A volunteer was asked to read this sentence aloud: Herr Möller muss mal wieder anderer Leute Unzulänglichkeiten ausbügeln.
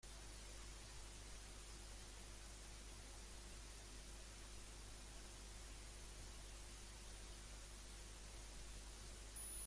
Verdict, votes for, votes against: rejected, 0, 2